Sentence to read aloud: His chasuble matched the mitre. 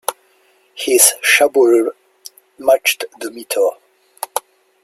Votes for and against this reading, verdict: 0, 2, rejected